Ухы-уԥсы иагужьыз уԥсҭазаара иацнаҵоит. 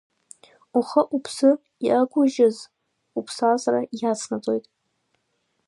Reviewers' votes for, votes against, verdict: 1, 2, rejected